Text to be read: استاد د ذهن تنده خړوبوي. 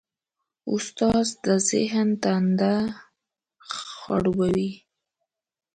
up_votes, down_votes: 2, 0